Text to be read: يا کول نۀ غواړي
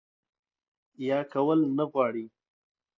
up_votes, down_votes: 2, 0